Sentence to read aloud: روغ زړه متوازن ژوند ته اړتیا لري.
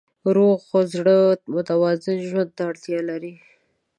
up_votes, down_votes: 0, 2